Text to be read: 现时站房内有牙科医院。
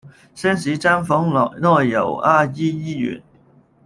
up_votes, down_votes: 0, 2